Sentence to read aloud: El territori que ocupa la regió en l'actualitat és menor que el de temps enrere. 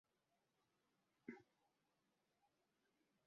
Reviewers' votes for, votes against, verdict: 1, 3, rejected